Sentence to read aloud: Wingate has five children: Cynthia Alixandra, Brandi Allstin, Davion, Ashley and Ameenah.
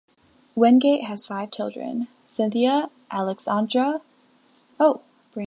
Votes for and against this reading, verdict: 0, 2, rejected